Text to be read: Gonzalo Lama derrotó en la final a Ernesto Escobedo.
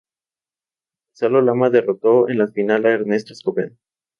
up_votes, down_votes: 0, 2